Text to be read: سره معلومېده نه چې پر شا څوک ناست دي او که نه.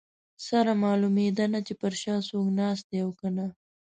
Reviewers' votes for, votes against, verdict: 2, 0, accepted